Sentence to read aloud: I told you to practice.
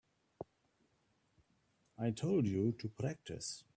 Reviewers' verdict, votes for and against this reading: accepted, 2, 0